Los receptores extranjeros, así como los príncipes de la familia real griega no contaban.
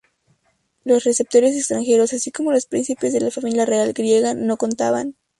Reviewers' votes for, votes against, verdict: 4, 0, accepted